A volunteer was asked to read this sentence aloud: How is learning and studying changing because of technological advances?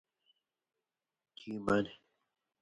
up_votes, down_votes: 0, 2